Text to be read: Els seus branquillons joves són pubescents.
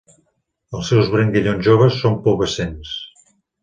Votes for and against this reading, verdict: 3, 1, accepted